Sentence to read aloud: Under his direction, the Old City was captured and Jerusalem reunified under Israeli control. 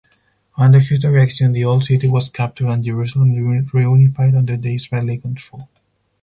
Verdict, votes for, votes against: rejected, 2, 4